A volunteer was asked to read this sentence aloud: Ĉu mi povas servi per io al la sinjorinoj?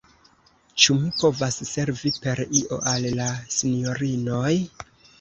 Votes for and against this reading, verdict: 1, 2, rejected